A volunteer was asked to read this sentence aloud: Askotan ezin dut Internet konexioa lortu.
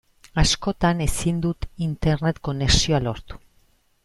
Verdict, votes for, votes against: accepted, 2, 0